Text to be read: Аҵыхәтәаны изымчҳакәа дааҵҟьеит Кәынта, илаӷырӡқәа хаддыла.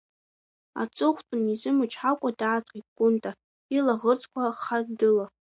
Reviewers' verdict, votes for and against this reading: accepted, 2, 0